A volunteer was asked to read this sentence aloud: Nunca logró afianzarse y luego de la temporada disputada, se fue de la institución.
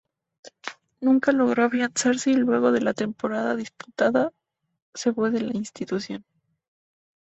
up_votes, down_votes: 2, 0